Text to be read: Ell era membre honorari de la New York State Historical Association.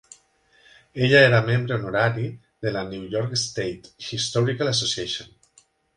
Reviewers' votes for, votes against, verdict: 0, 2, rejected